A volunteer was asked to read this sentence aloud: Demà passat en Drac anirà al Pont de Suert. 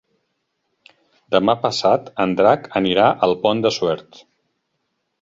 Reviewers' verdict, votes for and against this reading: accepted, 3, 0